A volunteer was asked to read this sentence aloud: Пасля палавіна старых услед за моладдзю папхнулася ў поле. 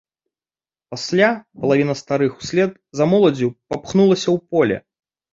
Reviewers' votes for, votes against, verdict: 2, 0, accepted